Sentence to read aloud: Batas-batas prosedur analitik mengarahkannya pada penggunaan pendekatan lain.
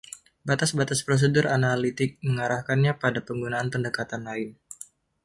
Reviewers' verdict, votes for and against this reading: accepted, 2, 0